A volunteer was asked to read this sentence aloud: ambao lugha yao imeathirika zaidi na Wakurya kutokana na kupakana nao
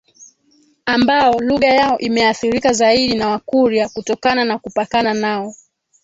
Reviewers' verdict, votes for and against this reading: accepted, 2, 1